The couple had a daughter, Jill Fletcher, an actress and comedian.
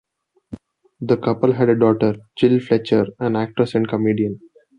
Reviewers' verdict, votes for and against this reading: accepted, 2, 0